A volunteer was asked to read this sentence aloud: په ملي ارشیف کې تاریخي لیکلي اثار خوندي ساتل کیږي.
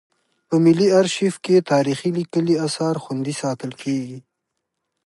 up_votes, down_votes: 2, 0